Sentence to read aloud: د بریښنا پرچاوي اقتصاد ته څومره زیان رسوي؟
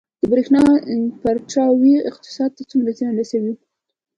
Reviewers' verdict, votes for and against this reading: accepted, 2, 0